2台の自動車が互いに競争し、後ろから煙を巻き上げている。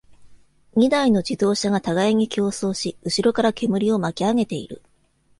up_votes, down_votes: 0, 2